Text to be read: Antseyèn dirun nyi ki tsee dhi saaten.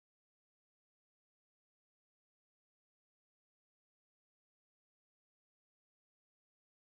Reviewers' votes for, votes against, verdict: 0, 2, rejected